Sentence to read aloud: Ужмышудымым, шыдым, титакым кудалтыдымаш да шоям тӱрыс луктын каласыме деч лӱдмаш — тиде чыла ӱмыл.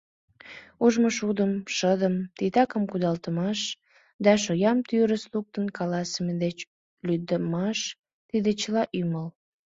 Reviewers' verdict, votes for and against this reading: rejected, 1, 2